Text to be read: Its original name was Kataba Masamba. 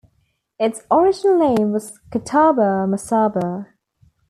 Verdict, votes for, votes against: rejected, 1, 2